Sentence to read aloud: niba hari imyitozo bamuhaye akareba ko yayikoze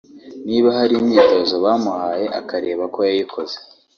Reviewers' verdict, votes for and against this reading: accepted, 2, 1